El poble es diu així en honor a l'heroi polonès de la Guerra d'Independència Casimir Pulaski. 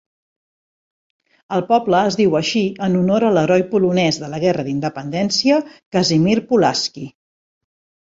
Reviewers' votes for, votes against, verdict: 2, 0, accepted